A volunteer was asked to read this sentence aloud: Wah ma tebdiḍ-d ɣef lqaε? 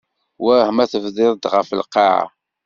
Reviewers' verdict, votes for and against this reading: accepted, 2, 0